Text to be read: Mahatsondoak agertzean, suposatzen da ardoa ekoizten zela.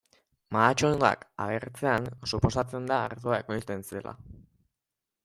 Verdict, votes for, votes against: accepted, 2, 0